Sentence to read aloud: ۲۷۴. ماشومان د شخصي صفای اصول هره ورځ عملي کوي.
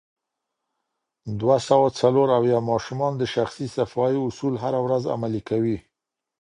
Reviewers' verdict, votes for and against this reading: rejected, 0, 2